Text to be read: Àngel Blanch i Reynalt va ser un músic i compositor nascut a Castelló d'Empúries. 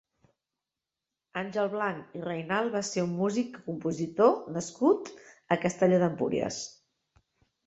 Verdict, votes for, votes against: rejected, 0, 3